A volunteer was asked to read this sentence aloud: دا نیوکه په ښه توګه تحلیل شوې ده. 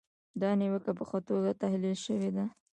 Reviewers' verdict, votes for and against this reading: accepted, 2, 1